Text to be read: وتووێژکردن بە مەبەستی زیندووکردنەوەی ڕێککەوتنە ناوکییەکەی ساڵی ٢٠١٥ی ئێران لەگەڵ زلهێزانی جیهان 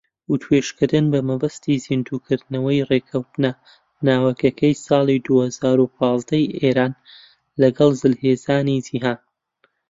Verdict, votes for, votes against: rejected, 0, 2